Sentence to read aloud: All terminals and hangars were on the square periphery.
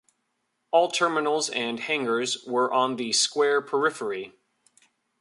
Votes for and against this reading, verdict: 2, 0, accepted